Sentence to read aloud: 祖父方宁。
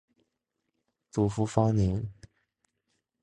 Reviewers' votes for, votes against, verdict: 3, 0, accepted